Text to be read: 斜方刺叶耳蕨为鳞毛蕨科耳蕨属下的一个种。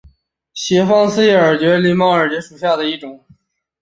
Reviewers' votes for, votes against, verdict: 1, 2, rejected